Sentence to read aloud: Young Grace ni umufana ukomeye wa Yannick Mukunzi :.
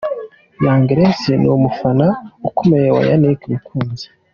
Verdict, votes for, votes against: accepted, 2, 1